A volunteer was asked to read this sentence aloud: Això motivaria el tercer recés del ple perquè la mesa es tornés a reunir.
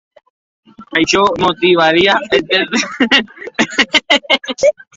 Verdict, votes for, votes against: rejected, 0, 2